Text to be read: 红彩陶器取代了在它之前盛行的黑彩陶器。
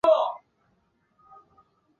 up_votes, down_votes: 1, 4